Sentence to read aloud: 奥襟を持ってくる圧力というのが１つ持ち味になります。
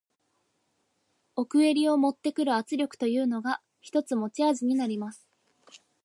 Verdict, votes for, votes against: rejected, 0, 2